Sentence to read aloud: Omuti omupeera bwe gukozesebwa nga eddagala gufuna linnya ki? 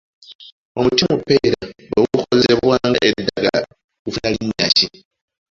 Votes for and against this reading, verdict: 1, 2, rejected